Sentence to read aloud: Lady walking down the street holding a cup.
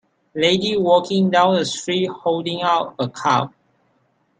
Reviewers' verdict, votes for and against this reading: rejected, 1, 2